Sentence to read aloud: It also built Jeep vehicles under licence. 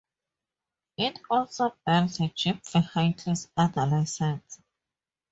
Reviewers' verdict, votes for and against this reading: rejected, 0, 4